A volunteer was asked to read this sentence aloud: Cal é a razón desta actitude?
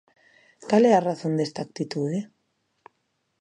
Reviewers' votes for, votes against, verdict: 2, 0, accepted